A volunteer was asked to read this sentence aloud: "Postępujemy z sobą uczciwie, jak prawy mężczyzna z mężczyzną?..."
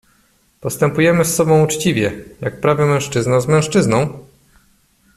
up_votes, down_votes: 2, 0